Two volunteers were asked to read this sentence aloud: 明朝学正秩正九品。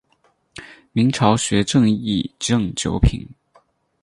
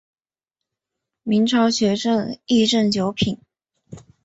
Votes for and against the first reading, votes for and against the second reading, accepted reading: 4, 2, 0, 2, first